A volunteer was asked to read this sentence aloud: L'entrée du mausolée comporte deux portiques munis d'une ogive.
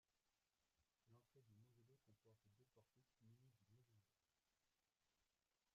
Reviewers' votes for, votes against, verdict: 0, 3, rejected